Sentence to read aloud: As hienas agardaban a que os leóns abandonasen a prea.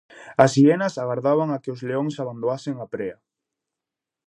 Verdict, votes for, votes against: rejected, 2, 2